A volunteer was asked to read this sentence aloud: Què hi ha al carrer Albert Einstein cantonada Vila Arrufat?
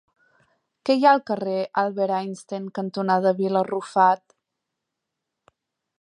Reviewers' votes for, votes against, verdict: 2, 0, accepted